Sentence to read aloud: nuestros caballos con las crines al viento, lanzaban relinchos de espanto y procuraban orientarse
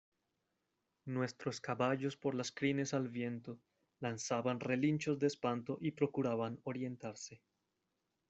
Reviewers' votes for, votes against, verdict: 0, 2, rejected